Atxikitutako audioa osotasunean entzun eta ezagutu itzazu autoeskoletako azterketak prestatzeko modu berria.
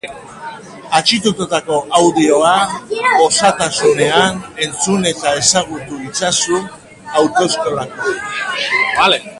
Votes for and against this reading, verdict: 0, 4, rejected